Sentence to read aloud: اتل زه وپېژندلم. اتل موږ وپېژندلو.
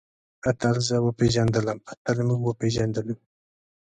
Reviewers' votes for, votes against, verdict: 2, 0, accepted